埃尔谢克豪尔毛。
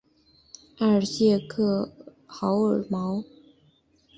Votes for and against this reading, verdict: 3, 0, accepted